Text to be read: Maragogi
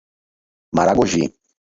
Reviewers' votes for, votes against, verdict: 4, 2, accepted